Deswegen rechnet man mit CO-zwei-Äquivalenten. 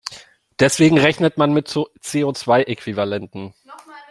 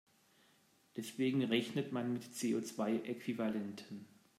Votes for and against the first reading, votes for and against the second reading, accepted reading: 1, 2, 2, 0, second